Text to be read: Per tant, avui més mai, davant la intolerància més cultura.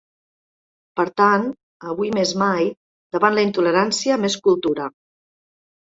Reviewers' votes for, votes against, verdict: 2, 0, accepted